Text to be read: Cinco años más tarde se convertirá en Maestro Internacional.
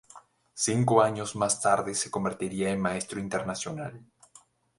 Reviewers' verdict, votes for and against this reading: rejected, 2, 2